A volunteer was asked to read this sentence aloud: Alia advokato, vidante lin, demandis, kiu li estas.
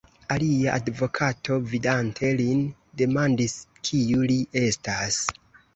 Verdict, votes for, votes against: rejected, 0, 2